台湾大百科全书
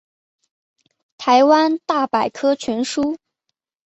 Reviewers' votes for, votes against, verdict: 1, 2, rejected